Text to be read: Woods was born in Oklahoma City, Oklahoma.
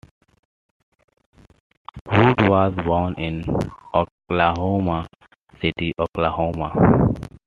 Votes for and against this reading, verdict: 2, 0, accepted